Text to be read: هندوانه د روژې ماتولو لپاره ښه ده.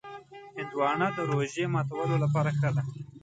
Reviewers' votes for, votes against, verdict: 1, 2, rejected